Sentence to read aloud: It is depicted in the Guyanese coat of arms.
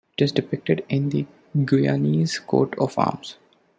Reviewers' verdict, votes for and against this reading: accepted, 2, 0